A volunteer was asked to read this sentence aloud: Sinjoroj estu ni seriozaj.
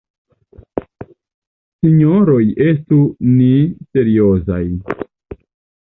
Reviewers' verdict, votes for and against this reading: accepted, 2, 0